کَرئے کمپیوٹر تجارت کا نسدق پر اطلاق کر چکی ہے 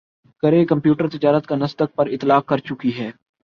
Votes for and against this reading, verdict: 10, 1, accepted